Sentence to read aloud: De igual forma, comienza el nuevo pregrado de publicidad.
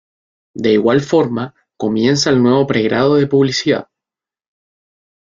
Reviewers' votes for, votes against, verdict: 2, 0, accepted